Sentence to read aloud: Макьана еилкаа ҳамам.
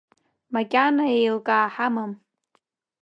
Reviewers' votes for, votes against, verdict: 2, 0, accepted